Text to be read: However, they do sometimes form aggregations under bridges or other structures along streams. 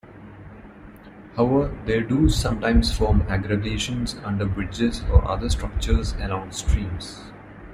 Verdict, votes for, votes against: rejected, 1, 2